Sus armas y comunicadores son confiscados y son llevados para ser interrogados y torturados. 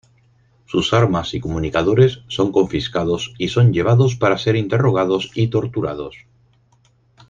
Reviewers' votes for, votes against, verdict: 0, 4, rejected